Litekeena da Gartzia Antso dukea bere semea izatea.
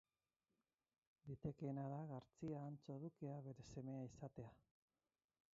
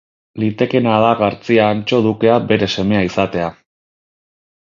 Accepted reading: second